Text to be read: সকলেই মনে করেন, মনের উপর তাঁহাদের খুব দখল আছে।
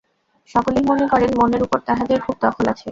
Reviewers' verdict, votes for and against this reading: rejected, 0, 2